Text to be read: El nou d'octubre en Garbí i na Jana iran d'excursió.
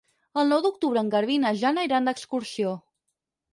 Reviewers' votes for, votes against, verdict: 4, 0, accepted